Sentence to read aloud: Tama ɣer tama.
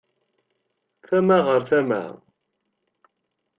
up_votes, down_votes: 2, 0